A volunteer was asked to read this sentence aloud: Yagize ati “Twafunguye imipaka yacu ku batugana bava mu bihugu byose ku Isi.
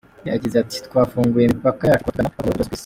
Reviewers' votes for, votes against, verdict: 0, 2, rejected